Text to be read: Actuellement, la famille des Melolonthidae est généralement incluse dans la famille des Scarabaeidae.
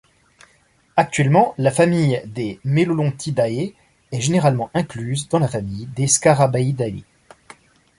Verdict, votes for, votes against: accepted, 2, 0